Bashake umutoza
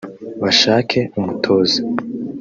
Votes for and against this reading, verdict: 0, 2, rejected